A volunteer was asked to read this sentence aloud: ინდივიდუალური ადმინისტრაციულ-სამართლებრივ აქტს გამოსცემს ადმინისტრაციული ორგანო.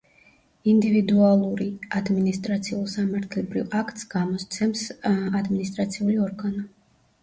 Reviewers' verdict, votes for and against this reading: rejected, 1, 2